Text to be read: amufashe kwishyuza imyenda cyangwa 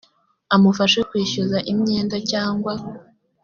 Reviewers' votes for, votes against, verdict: 2, 0, accepted